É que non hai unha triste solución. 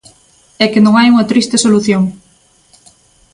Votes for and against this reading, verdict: 2, 0, accepted